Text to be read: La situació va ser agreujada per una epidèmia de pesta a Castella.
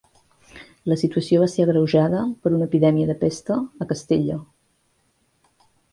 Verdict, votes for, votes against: accepted, 2, 0